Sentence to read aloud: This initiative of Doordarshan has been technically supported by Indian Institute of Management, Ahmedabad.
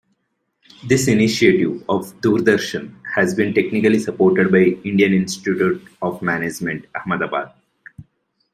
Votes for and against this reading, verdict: 2, 0, accepted